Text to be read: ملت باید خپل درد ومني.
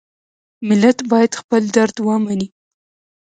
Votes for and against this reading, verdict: 2, 0, accepted